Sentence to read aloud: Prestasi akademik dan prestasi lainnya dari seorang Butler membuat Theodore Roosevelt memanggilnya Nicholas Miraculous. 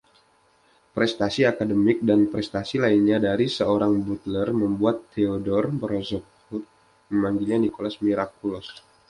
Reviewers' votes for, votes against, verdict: 2, 0, accepted